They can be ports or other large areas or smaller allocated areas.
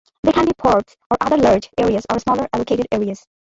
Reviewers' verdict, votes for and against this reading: rejected, 0, 2